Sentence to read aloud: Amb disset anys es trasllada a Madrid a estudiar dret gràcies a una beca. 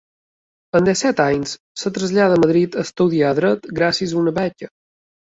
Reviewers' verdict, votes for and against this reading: accepted, 2, 1